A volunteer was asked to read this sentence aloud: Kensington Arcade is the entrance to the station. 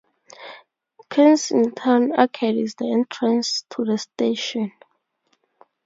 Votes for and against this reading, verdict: 4, 0, accepted